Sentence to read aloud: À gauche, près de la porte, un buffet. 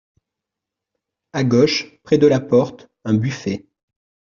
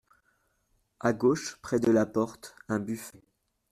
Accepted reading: first